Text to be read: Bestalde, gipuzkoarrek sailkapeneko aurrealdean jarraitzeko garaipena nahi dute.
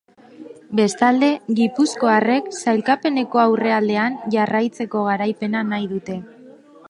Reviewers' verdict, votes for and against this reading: accepted, 4, 0